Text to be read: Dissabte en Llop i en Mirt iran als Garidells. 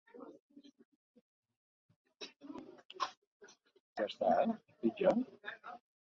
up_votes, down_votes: 0, 2